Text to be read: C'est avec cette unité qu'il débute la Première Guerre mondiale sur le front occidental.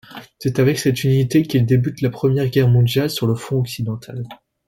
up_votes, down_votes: 2, 0